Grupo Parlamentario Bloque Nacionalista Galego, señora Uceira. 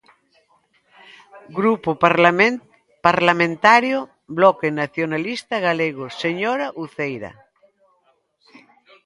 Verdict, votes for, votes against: rejected, 0, 2